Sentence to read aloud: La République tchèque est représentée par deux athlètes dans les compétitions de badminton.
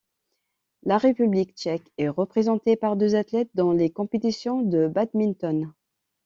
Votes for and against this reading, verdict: 2, 0, accepted